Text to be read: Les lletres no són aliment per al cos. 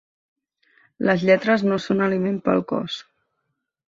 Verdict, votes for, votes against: accepted, 2, 0